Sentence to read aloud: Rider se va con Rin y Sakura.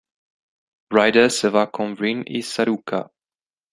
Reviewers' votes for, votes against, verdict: 0, 2, rejected